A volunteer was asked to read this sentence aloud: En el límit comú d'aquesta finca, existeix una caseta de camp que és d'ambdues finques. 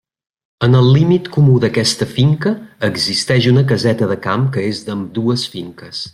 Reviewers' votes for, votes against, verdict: 3, 1, accepted